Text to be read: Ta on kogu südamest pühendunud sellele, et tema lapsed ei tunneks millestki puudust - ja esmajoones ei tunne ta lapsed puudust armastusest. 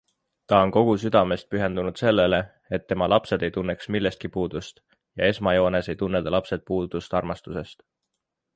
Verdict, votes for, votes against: accepted, 3, 0